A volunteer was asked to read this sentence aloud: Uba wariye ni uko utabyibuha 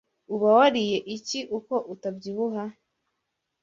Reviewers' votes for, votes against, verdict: 1, 2, rejected